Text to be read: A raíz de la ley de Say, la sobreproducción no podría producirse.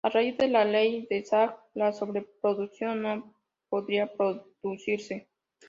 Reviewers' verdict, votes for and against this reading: rejected, 1, 2